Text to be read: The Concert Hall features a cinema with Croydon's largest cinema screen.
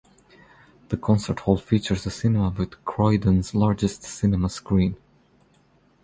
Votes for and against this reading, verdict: 2, 0, accepted